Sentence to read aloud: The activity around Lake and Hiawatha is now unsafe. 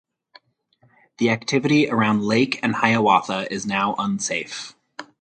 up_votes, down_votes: 4, 0